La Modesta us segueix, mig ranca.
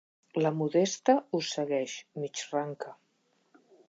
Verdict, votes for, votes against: accepted, 2, 0